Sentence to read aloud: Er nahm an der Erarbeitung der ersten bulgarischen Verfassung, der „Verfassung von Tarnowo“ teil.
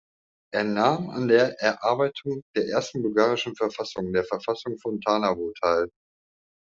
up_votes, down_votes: 2, 1